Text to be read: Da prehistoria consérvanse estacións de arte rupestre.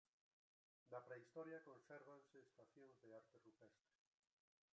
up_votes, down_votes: 0, 2